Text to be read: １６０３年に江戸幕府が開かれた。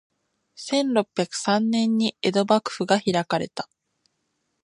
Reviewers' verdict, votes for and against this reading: rejected, 0, 2